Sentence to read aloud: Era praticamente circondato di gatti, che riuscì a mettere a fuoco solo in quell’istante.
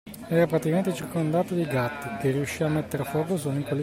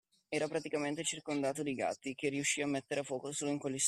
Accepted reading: second